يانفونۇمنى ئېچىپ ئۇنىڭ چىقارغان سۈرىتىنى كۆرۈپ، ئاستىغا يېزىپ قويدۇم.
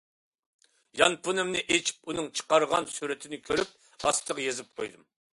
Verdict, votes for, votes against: accepted, 2, 0